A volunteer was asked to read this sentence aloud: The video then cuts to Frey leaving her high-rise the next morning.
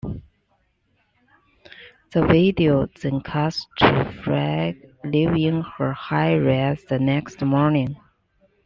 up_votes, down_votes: 2, 0